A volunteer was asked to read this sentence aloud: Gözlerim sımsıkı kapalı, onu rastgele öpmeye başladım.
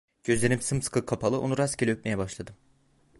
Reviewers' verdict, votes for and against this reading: accepted, 2, 0